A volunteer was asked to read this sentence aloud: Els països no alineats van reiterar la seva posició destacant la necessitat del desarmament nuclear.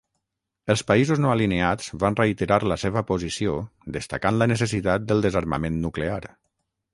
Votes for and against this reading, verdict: 6, 0, accepted